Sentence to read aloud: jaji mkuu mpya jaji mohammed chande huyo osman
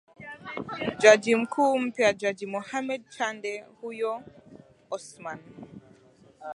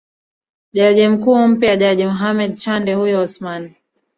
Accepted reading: first